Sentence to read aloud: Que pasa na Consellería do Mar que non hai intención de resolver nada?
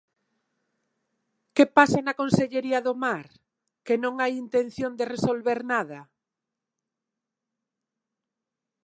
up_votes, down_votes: 1, 2